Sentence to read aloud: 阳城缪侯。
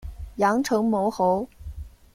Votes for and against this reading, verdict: 1, 2, rejected